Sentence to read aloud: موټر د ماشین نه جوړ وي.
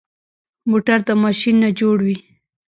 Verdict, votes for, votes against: accepted, 2, 0